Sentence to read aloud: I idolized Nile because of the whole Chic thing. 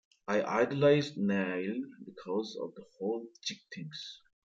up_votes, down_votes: 1, 2